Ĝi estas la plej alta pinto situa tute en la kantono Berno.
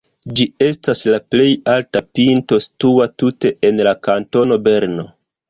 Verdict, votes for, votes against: accepted, 2, 0